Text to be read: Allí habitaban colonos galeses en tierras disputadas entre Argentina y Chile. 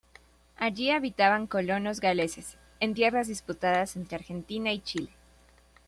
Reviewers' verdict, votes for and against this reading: accepted, 2, 0